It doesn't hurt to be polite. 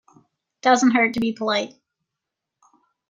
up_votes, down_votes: 0, 2